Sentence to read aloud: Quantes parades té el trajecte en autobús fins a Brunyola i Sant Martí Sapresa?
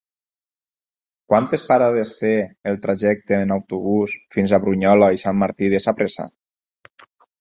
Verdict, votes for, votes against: rejected, 0, 4